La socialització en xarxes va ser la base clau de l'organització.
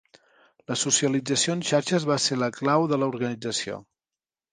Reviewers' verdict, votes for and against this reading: rejected, 2, 3